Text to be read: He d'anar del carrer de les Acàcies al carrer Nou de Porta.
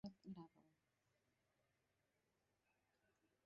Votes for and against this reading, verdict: 0, 2, rejected